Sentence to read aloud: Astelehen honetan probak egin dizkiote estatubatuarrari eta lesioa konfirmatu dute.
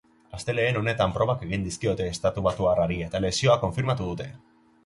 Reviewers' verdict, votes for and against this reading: accepted, 3, 0